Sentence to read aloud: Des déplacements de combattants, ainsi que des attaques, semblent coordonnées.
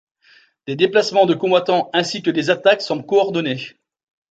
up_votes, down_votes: 2, 1